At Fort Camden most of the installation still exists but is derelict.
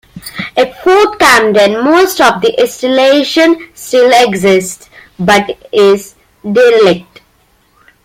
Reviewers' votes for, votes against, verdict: 2, 0, accepted